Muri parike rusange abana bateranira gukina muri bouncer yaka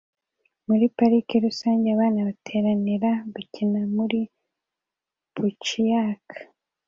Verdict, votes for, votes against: accepted, 2, 1